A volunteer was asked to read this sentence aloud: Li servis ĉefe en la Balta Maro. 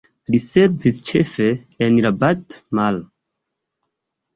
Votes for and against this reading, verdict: 2, 1, accepted